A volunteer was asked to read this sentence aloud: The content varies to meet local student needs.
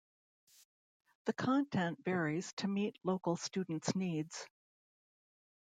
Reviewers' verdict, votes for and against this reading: rejected, 0, 2